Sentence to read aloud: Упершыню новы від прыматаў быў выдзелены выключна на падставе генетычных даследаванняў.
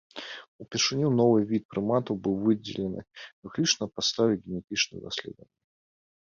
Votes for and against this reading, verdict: 3, 1, accepted